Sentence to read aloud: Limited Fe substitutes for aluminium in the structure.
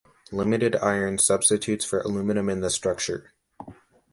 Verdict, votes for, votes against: rejected, 0, 2